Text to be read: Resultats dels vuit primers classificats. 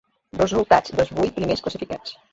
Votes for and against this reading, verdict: 2, 1, accepted